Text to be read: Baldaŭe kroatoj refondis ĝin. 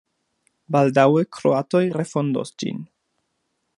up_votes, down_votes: 0, 2